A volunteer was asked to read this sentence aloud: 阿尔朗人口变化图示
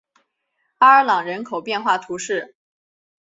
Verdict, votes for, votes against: accepted, 3, 0